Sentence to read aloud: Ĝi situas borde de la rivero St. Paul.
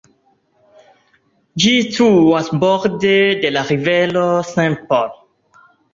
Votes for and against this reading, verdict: 0, 2, rejected